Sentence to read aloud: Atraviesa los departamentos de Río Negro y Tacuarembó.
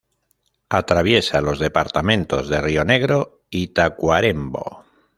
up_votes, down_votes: 1, 2